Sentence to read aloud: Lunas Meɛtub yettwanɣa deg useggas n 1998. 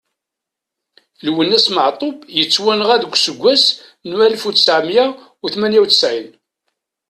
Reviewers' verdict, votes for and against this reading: rejected, 0, 2